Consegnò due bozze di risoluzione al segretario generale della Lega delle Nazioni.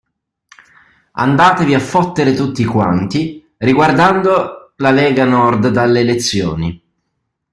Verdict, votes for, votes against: rejected, 0, 2